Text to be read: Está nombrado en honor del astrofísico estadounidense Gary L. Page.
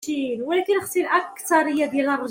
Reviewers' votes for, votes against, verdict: 0, 2, rejected